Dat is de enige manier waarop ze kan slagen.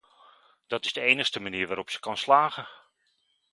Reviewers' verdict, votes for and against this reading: rejected, 0, 2